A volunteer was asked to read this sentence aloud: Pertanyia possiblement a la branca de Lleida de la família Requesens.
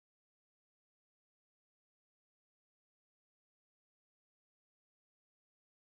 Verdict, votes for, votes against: rejected, 0, 2